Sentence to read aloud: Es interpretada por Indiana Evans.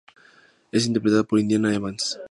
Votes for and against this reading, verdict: 4, 0, accepted